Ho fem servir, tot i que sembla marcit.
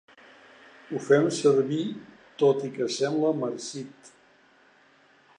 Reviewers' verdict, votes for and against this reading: accepted, 2, 1